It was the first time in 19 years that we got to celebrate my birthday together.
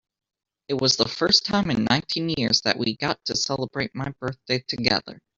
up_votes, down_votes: 0, 2